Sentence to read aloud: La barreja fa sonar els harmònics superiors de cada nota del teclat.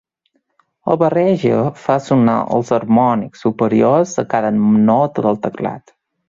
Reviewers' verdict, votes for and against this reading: rejected, 1, 2